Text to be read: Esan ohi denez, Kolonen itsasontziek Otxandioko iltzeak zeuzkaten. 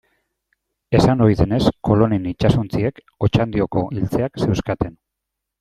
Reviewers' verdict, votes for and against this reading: accepted, 2, 0